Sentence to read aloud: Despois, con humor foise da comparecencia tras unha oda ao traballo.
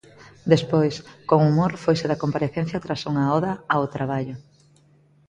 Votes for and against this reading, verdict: 2, 1, accepted